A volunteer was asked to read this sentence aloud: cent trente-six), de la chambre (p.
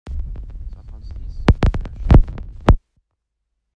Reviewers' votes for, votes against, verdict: 0, 2, rejected